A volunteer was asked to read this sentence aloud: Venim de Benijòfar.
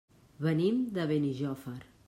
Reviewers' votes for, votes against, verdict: 3, 0, accepted